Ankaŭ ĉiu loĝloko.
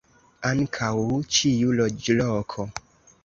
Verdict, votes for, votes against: accepted, 2, 1